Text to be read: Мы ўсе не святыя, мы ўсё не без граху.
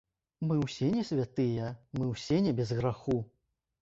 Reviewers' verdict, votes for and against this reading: accepted, 2, 1